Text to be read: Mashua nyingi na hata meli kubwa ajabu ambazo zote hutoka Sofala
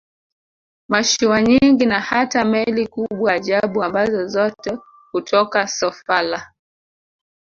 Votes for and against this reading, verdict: 2, 0, accepted